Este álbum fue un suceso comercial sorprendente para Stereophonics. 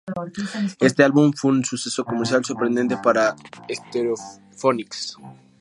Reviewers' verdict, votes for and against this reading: rejected, 0, 2